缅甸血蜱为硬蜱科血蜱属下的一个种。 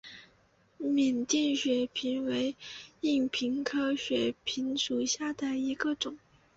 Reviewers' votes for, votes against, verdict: 0, 2, rejected